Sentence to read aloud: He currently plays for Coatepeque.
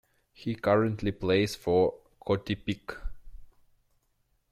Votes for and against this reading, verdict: 0, 2, rejected